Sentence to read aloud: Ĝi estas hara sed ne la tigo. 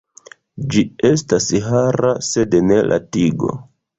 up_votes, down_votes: 2, 1